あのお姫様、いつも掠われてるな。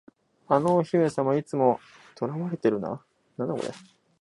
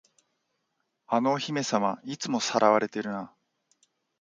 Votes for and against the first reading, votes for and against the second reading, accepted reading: 0, 2, 2, 0, second